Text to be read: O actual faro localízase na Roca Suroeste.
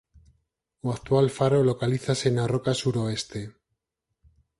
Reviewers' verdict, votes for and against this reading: accepted, 4, 0